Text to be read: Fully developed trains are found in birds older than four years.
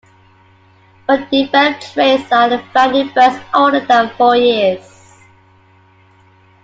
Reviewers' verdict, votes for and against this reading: rejected, 0, 2